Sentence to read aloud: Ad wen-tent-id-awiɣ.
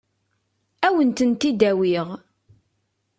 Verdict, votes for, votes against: accepted, 2, 0